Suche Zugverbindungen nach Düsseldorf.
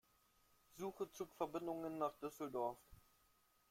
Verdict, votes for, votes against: rejected, 1, 2